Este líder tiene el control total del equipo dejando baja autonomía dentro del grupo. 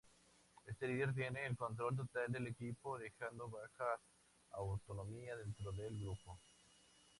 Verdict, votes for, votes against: accepted, 2, 0